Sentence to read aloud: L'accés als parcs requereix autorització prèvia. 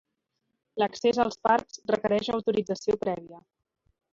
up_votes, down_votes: 3, 0